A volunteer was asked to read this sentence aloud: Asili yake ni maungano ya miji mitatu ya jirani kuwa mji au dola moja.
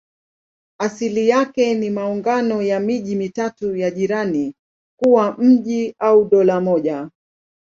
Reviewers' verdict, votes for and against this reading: accepted, 2, 0